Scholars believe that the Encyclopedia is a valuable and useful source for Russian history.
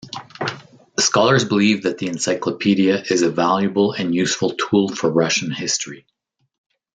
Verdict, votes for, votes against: rejected, 0, 2